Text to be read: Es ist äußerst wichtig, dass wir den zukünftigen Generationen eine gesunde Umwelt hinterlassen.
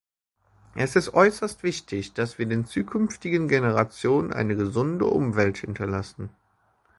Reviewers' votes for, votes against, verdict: 1, 2, rejected